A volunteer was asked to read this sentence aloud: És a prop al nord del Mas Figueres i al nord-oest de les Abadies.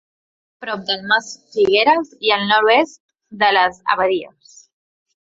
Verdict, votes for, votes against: rejected, 0, 2